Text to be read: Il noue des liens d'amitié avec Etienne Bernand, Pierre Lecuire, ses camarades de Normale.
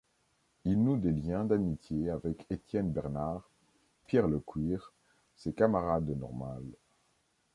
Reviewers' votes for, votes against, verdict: 1, 2, rejected